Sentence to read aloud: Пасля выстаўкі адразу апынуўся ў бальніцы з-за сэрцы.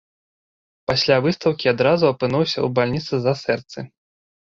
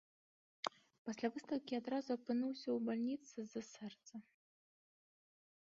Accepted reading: first